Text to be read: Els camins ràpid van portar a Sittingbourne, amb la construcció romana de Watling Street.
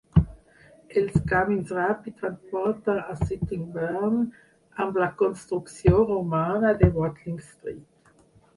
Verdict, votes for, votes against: rejected, 0, 6